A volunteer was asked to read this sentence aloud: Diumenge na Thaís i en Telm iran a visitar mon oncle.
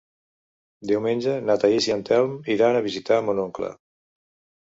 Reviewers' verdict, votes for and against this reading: accepted, 2, 0